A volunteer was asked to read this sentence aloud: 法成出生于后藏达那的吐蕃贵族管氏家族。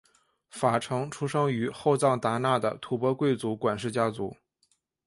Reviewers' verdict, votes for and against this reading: accepted, 2, 0